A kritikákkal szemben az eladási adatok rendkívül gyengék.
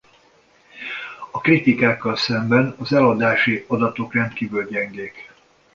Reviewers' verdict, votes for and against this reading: accepted, 2, 0